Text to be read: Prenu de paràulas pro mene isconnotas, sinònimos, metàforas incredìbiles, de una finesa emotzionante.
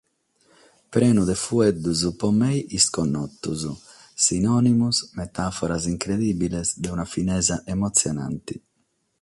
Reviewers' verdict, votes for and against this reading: rejected, 3, 6